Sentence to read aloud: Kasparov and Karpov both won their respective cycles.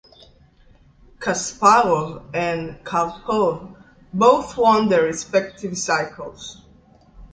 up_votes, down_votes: 2, 0